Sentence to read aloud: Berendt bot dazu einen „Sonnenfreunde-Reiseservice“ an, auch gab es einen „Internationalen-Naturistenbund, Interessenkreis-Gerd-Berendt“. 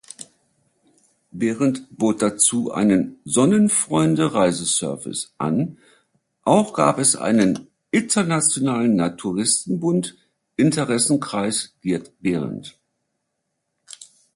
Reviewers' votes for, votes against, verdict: 2, 0, accepted